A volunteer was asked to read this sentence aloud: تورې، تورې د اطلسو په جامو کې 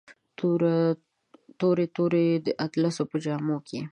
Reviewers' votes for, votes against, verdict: 1, 2, rejected